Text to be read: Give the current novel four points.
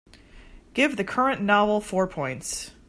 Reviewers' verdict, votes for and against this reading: accepted, 3, 0